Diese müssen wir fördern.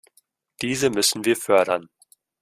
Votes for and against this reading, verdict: 2, 0, accepted